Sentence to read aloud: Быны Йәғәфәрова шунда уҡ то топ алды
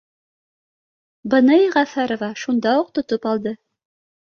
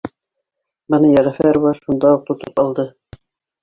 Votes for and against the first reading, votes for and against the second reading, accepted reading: 2, 0, 0, 2, first